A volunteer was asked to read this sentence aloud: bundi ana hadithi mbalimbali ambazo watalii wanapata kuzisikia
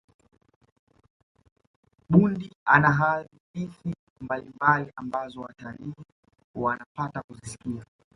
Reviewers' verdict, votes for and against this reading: accepted, 2, 1